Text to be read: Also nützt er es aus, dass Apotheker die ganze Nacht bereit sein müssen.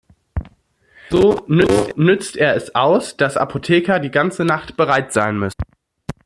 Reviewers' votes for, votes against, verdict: 0, 2, rejected